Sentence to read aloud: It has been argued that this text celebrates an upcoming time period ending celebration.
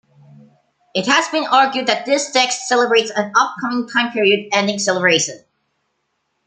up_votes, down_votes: 2, 0